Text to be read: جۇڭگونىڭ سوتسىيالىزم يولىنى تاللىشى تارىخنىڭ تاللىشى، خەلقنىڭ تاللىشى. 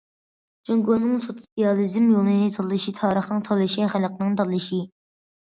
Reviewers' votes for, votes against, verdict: 2, 0, accepted